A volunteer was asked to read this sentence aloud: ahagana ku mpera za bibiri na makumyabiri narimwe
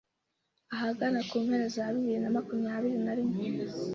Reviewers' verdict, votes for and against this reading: accepted, 2, 0